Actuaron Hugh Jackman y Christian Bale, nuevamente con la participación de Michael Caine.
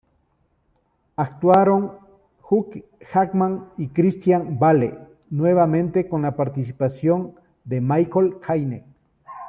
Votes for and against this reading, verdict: 0, 2, rejected